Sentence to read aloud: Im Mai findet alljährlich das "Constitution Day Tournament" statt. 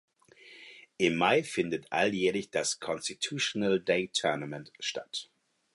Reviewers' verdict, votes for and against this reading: rejected, 0, 4